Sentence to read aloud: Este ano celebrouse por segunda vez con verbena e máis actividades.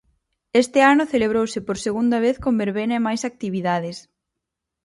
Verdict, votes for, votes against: accepted, 4, 0